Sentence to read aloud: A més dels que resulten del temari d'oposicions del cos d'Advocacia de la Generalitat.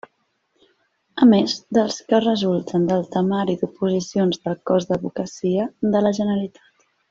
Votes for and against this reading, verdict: 0, 2, rejected